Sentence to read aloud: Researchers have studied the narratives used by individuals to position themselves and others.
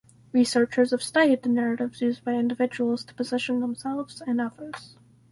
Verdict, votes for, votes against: rejected, 2, 2